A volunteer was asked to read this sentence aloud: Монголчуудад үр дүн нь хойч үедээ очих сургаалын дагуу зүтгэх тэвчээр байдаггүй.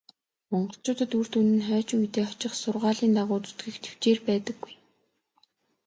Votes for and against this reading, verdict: 2, 0, accepted